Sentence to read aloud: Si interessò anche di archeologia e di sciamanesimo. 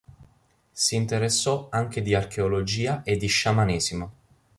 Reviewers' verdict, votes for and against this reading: accepted, 2, 0